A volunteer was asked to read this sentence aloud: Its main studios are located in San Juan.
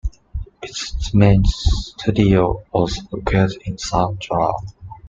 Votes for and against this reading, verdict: 0, 2, rejected